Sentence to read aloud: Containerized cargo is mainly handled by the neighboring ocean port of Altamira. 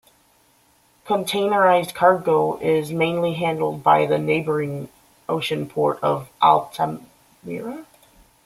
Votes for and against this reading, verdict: 0, 2, rejected